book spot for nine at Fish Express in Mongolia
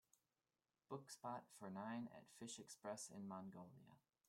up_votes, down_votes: 0, 2